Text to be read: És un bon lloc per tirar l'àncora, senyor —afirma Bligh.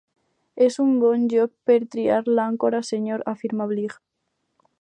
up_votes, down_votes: 2, 4